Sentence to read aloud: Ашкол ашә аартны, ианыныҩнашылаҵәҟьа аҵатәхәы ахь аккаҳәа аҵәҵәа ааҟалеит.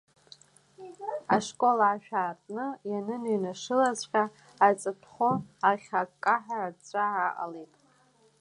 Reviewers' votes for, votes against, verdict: 1, 2, rejected